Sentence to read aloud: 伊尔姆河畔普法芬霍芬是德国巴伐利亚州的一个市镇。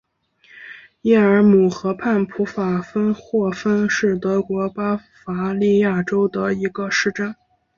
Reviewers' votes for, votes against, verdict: 4, 0, accepted